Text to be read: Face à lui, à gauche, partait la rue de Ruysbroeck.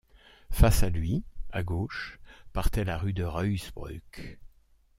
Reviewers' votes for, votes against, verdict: 2, 0, accepted